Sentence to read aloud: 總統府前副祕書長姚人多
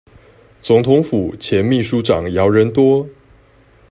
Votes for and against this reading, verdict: 1, 2, rejected